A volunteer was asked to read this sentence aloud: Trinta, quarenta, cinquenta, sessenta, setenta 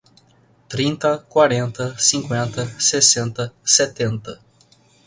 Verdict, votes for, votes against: rejected, 0, 2